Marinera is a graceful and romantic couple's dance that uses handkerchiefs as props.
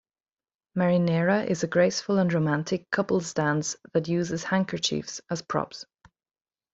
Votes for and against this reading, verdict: 2, 0, accepted